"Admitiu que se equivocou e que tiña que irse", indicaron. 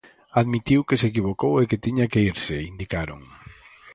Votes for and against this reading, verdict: 4, 0, accepted